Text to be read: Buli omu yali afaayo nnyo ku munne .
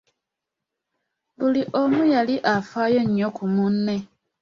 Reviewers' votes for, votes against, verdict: 2, 0, accepted